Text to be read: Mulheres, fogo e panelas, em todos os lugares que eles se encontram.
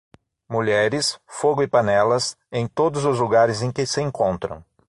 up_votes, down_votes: 0, 6